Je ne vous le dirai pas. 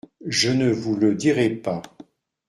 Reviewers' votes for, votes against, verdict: 2, 0, accepted